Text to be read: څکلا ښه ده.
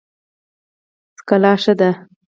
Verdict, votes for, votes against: accepted, 4, 0